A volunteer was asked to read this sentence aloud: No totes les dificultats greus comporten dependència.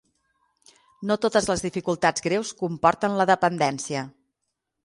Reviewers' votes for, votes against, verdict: 0, 6, rejected